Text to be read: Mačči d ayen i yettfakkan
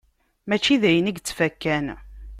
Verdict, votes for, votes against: accepted, 2, 0